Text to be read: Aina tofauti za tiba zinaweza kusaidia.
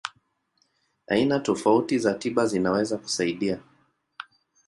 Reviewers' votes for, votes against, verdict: 2, 0, accepted